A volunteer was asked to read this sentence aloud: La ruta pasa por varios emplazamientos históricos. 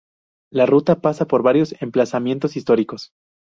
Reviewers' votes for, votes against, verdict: 0, 2, rejected